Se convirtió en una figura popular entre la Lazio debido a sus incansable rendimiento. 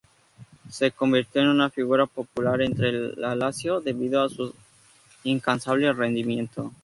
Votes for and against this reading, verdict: 0, 2, rejected